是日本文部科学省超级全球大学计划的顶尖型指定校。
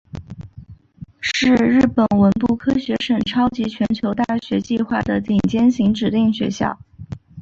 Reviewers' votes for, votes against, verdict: 2, 1, accepted